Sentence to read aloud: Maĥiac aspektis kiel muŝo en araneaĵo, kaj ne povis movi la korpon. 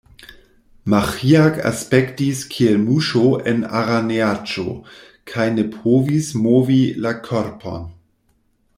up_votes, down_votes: 1, 2